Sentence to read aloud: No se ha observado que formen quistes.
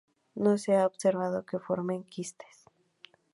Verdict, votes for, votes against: accepted, 2, 0